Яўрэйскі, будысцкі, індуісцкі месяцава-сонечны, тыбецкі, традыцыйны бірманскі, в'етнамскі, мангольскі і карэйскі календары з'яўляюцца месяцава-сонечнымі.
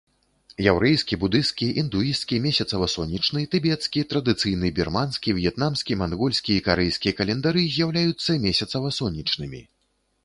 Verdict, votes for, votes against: accepted, 2, 0